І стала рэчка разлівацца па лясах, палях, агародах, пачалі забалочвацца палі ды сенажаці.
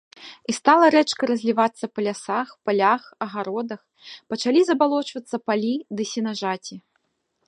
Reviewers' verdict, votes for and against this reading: accepted, 2, 0